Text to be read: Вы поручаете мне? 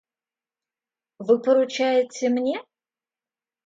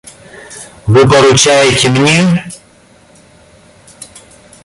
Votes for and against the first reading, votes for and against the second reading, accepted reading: 2, 0, 1, 2, first